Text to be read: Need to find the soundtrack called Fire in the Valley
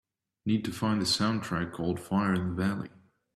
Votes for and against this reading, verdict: 2, 0, accepted